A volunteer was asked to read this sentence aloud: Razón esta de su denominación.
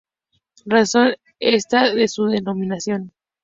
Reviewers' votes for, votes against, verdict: 2, 0, accepted